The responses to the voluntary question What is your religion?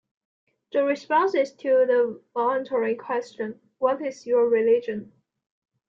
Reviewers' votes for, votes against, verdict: 2, 0, accepted